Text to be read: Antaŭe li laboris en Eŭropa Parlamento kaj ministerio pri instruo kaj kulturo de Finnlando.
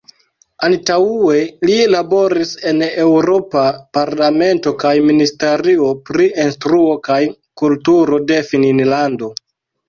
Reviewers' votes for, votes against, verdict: 1, 2, rejected